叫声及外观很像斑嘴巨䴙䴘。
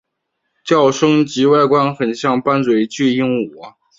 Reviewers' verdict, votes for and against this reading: rejected, 0, 2